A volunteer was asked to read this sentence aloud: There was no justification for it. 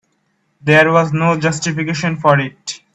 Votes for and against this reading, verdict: 2, 1, accepted